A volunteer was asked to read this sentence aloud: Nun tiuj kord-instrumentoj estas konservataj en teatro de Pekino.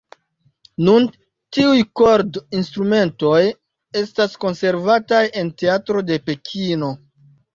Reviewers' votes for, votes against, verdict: 0, 2, rejected